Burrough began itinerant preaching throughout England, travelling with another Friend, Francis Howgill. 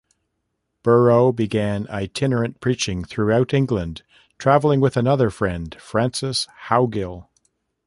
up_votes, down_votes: 2, 0